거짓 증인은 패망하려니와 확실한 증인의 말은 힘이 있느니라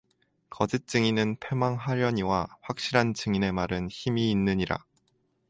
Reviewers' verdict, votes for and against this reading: rejected, 2, 2